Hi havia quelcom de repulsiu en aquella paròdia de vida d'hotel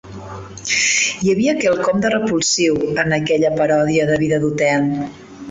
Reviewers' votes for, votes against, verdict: 2, 0, accepted